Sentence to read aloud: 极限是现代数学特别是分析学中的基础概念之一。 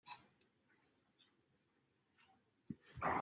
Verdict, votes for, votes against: rejected, 0, 2